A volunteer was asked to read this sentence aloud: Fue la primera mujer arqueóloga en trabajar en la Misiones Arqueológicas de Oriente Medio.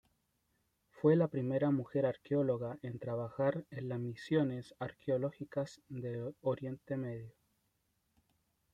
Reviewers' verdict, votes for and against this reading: rejected, 0, 2